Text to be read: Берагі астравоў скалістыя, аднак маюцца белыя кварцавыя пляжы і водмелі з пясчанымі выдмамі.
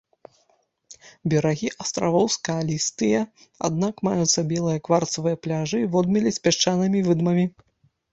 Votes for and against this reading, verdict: 1, 2, rejected